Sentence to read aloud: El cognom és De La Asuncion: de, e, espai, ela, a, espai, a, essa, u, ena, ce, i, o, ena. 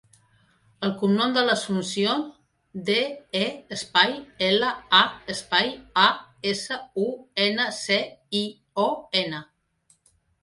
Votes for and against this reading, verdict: 0, 2, rejected